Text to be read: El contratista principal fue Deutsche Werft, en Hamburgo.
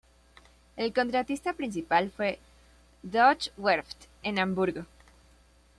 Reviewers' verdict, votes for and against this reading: rejected, 1, 2